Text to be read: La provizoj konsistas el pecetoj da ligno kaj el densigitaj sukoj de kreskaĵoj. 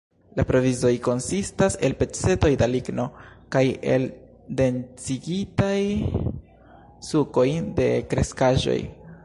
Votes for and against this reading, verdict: 1, 2, rejected